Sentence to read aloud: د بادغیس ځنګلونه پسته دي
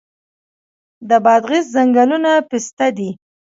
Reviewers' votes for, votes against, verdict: 2, 1, accepted